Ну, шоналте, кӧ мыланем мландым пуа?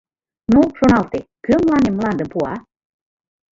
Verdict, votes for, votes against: rejected, 1, 2